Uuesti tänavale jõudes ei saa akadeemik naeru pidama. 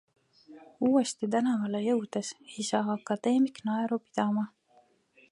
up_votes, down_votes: 2, 0